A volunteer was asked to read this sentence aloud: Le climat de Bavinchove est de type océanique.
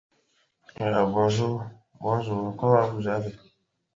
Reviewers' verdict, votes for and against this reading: rejected, 0, 2